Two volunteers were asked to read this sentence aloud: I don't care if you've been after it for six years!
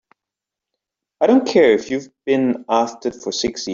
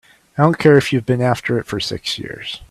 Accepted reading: second